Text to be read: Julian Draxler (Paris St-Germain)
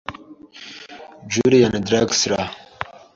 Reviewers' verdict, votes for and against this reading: rejected, 1, 2